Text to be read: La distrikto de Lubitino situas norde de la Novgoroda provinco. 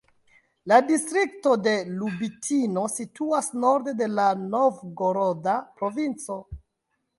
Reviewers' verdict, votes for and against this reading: accepted, 2, 0